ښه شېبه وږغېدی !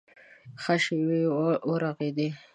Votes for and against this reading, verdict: 0, 3, rejected